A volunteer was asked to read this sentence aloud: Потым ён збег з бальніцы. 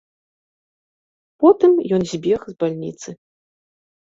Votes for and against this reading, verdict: 2, 0, accepted